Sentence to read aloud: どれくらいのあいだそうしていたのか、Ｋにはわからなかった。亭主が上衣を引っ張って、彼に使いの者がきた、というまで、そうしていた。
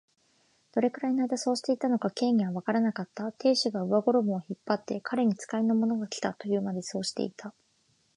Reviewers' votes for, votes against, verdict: 2, 1, accepted